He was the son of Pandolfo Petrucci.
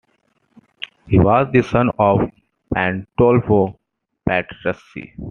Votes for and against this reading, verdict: 2, 0, accepted